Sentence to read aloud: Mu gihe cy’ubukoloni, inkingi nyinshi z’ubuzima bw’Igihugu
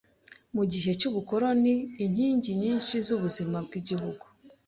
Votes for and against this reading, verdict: 2, 0, accepted